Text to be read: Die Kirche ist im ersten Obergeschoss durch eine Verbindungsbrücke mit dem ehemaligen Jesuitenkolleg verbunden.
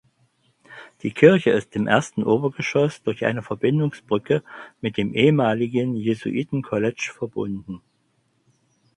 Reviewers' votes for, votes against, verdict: 0, 4, rejected